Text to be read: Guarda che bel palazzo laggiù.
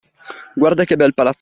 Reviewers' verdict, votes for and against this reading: rejected, 0, 2